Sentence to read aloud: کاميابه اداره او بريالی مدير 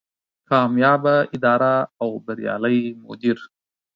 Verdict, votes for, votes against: accepted, 4, 0